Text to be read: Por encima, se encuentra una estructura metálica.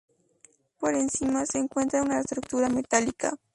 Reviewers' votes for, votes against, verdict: 2, 2, rejected